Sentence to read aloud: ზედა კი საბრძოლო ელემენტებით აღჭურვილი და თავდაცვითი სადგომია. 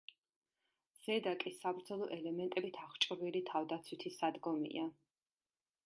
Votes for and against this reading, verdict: 0, 2, rejected